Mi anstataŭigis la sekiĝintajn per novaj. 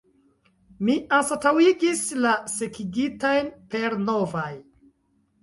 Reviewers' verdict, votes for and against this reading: rejected, 0, 2